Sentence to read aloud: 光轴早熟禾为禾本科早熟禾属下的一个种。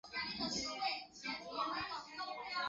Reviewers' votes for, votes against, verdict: 0, 2, rejected